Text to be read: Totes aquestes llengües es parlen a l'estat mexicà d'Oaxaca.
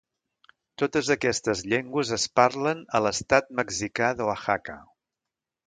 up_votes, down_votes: 1, 2